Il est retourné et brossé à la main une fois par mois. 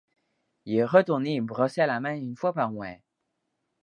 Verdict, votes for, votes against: accepted, 2, 0